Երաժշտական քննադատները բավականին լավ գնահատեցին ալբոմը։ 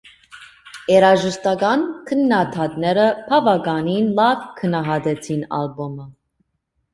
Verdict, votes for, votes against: rejected, 1, 2